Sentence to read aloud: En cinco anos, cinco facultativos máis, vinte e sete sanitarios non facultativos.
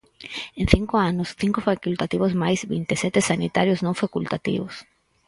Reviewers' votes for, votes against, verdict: 4, 0, accepted